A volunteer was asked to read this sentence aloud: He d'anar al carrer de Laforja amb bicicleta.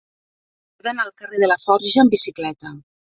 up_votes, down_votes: 2, 3